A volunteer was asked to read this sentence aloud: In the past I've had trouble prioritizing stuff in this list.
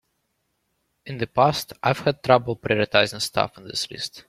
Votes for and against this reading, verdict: 3, 0, accepted